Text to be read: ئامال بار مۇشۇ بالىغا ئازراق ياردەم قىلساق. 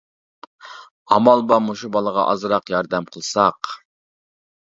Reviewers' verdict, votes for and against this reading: accepted, 2, 0